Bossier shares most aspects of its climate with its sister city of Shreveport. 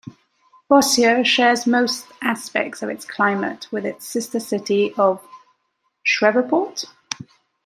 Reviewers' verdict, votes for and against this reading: rejected, 1, 2